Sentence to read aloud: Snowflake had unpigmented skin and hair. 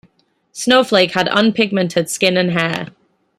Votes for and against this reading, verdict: 2, 0, accepted